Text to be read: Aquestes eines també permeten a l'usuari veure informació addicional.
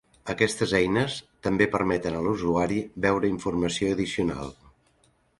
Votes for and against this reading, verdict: 3, 0, accepted